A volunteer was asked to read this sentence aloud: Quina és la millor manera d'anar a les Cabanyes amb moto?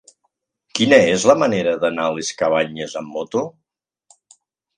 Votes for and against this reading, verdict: 0, 2, rejected